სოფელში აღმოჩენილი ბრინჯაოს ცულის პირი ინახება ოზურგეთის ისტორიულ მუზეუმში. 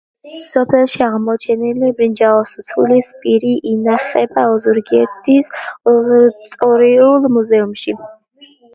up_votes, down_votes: 0, 2